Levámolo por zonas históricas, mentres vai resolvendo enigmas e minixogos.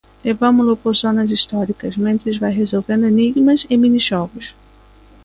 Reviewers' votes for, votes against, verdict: 2, 0, accepted